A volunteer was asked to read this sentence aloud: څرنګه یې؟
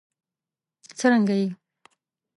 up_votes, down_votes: 2, 0